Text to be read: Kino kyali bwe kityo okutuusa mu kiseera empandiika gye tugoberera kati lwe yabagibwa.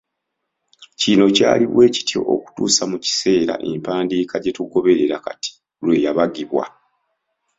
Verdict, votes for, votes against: accepted, 2, 0